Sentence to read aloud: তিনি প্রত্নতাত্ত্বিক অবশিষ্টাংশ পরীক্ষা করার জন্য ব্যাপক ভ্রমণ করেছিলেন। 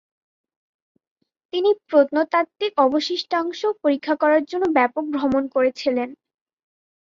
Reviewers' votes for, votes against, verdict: 2, 0, accepted